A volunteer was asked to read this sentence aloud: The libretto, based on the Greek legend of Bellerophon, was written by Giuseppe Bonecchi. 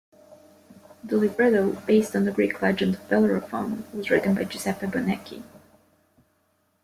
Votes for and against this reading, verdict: 2, 0, accepted